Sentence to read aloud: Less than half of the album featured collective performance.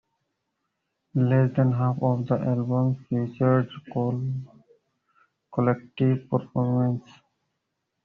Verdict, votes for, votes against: rejected, 0, 2